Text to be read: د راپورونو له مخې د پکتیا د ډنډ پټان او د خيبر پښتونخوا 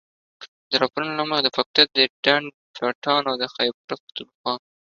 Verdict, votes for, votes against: rejected, 1, 2